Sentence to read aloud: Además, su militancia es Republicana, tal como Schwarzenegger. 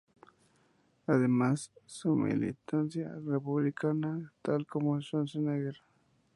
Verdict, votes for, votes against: accepted, 2, 0